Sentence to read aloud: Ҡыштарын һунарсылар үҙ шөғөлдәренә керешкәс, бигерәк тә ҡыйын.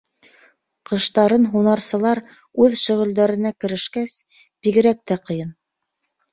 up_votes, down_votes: 2, 0